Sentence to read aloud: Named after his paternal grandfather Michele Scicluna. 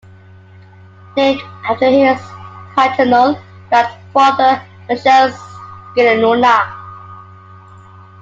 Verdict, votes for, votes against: accepted, 2, 0